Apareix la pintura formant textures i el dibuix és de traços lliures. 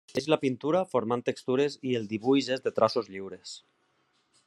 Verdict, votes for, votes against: rejected, 1, 2